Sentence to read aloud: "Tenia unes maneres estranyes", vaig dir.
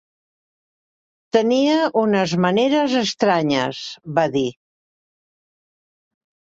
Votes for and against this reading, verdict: 0, 2, rejected